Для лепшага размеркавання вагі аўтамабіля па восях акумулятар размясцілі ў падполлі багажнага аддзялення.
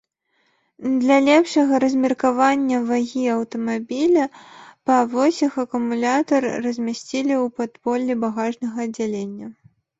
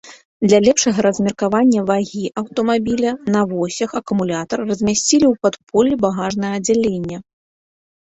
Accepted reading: first